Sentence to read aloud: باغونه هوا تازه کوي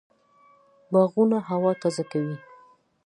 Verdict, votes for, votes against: accepted, 2, 0